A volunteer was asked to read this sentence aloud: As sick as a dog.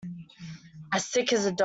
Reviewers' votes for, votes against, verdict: 0, 2, rejected